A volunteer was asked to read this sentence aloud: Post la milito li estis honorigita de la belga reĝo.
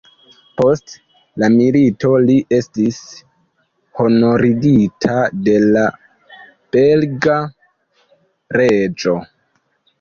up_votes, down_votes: 1, 2